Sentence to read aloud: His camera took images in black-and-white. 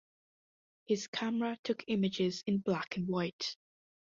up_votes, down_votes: 2, 0